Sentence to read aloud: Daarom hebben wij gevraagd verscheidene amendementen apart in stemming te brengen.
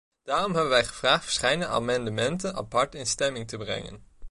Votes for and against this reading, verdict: 1, 2, rejected